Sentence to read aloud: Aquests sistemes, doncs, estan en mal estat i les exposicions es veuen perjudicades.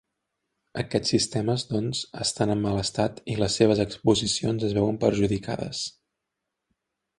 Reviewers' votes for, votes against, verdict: 1, 2, rejected